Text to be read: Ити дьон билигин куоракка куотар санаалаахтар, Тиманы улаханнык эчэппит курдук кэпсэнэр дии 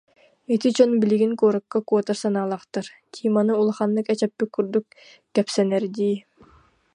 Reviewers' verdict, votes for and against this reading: accepted, 2, 0